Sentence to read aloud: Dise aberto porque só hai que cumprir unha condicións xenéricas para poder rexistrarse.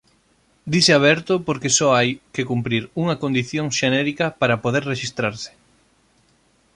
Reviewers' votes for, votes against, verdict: 0, 2, rejected